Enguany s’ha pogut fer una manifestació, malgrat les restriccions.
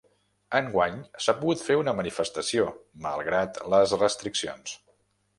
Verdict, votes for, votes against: accepted, 3, 0